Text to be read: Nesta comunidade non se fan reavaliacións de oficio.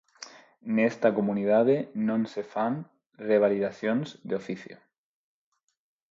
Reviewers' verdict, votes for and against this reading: rejected, 0, 4